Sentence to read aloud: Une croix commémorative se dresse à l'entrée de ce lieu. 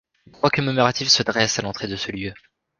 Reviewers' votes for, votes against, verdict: 1, 2, rejected